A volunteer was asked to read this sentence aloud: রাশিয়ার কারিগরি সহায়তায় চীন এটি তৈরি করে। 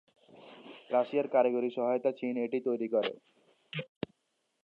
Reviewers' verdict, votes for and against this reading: accepted, 2, 0